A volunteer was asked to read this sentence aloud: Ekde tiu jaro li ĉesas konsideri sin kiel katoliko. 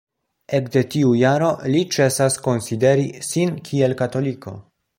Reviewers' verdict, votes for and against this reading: accepted, 2, 0